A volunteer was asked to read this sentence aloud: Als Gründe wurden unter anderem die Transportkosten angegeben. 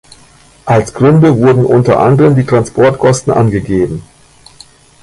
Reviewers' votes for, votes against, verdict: 1, 2, rejected